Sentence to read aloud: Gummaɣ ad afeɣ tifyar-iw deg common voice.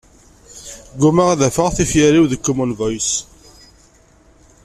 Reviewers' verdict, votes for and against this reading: rejected, 0, 2